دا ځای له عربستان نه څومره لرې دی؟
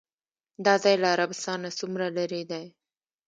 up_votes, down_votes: 1, 2